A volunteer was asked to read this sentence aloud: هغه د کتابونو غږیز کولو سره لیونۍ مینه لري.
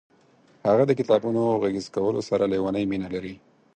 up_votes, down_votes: 8, 0